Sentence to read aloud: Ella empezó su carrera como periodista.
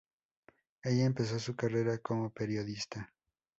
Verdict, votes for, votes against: accepted, 2, 0